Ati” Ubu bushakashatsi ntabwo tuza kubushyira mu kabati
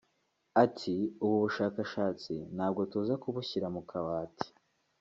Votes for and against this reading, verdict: 2, 0, accepted